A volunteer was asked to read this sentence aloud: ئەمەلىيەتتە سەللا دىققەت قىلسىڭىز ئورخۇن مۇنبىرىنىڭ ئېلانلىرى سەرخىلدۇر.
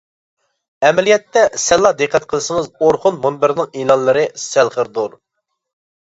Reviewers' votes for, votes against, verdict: 0, 2, rejected